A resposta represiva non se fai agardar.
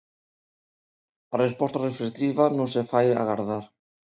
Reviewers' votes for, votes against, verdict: 1, 2, rejected